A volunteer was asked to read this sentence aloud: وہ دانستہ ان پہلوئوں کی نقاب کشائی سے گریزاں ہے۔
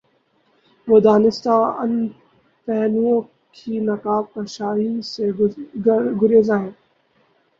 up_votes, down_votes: 0, 2